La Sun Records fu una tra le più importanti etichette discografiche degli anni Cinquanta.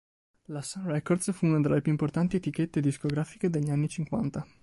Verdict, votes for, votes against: accepted, 2, 0